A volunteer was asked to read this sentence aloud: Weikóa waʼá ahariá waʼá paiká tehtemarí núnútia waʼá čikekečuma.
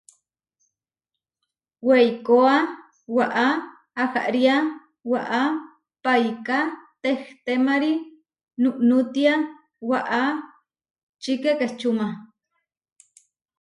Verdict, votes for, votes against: accepted, 2, 0